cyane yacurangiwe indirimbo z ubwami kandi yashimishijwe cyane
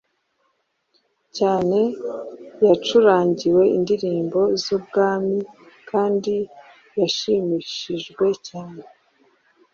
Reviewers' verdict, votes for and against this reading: accepted, 2, 0